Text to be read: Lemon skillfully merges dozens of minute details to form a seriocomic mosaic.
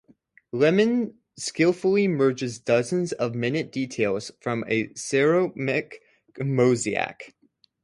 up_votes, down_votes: 0, 2